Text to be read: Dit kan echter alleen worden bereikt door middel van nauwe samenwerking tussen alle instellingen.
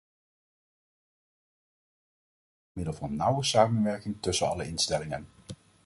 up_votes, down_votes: 0, 2